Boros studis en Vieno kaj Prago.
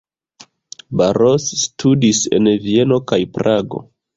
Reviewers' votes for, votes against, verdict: 0, 2, rejected